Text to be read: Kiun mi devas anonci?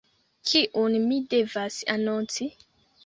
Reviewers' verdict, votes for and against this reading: rejected, 0, 2